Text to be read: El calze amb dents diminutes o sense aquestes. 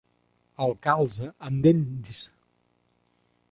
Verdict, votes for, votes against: rejected, 0, 2